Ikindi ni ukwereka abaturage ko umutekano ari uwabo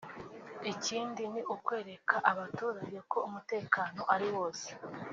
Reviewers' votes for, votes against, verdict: 1, 3, rejected